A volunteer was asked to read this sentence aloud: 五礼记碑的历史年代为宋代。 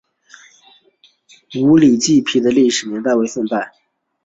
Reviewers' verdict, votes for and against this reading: accepted, 2, 1